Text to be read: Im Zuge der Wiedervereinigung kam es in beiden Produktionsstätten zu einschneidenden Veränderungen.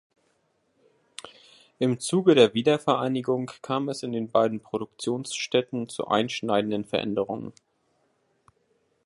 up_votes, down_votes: 0, 2